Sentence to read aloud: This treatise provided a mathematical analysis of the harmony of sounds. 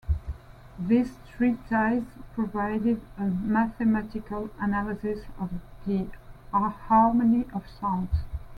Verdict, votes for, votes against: rejected, 0, 2